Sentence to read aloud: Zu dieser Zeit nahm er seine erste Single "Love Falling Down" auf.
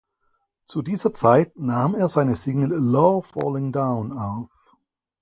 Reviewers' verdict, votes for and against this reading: rejected, 2, 4